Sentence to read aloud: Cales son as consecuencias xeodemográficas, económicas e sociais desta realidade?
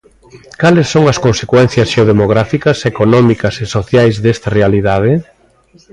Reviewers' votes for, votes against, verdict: 2, 0, accepted